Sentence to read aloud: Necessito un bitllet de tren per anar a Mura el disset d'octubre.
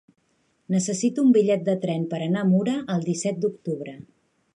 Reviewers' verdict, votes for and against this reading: accepted, 3, 0